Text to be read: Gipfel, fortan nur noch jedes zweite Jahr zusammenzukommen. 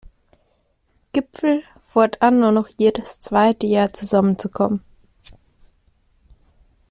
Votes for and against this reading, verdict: 2, 0, accepted